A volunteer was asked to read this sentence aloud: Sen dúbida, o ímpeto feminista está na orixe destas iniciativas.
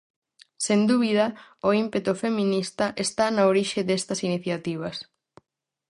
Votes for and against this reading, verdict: 4, 0, accepted